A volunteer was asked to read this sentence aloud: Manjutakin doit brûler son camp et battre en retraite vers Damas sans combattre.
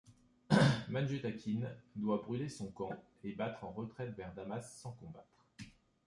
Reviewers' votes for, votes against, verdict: 2, 0, accepted